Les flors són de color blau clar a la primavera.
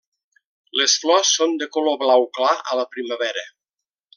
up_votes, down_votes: 3, 0